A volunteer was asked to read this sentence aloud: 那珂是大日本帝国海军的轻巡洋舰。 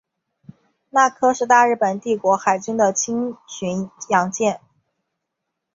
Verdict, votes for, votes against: accepted, 2, 0